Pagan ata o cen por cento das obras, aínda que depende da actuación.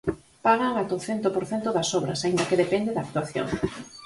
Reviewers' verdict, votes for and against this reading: rejected, 2, 4